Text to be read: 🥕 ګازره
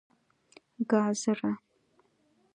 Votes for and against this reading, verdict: 2, 0, accepted